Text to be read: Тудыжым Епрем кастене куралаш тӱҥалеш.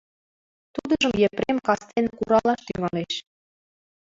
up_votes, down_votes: 0, 2